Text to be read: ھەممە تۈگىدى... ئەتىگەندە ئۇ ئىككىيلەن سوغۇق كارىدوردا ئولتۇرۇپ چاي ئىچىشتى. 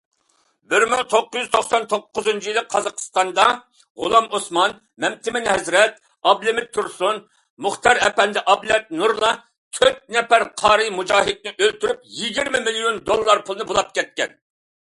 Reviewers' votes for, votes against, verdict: 0, 2, rejected